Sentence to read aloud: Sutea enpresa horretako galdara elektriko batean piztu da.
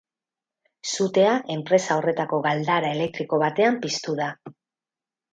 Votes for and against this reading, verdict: 4, 0, accepted